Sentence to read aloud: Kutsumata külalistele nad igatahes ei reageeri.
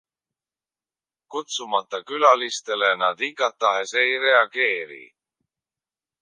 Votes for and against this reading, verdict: 0, 2, rejected